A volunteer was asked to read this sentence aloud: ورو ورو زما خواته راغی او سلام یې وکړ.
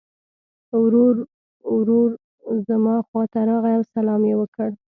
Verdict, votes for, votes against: rejected, 1, 2